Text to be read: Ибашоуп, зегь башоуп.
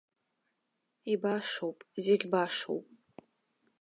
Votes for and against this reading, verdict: 2, 0, accepted